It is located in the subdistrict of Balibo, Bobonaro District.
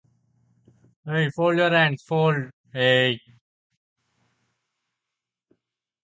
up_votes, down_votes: 0, 2